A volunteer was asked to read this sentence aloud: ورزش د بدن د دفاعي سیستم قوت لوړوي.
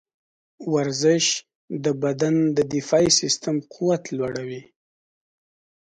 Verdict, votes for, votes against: accepted, 2, 0